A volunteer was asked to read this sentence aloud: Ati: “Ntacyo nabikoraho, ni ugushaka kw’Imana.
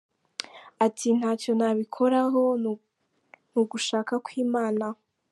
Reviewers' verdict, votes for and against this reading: accepted, 2, 1